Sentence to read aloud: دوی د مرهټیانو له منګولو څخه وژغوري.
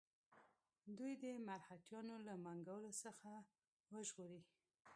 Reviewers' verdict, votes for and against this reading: rejected, 1, 2